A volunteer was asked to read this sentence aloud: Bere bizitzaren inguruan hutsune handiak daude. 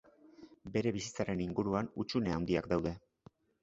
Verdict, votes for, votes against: accepted, 2, 0